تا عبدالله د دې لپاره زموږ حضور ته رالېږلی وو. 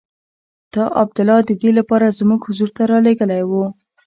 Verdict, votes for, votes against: accepted, 2, 0